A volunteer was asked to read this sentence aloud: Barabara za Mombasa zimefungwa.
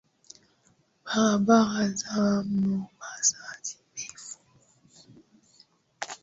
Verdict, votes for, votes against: accepted, 3, 2